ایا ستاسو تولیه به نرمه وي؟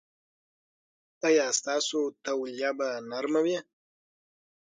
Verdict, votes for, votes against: accepted, 6, 3